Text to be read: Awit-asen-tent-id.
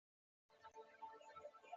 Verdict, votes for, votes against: rejected, 1, 2